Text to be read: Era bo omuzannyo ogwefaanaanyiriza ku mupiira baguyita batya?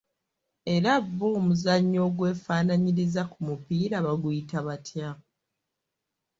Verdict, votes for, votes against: accepted, 2, 1